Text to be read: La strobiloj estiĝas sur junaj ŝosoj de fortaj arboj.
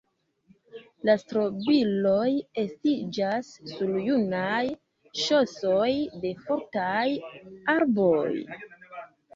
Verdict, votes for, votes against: accepted, 2, 1